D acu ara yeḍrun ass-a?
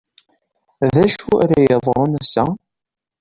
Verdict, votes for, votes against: rejected, 0, 2